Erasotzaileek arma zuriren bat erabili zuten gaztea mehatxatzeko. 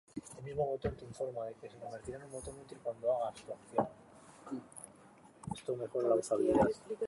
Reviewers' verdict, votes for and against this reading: rejected, 0, 2